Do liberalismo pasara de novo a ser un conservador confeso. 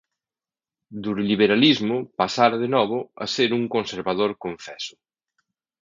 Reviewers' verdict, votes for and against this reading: rejected, 1, 2